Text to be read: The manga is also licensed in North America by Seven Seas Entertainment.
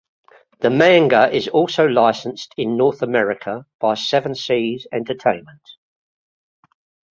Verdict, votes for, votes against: accepted, 2, 0